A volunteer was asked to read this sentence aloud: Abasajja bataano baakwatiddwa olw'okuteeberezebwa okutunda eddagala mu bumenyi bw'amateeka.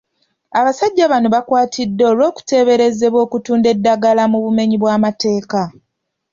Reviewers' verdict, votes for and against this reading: rejected, 3, 4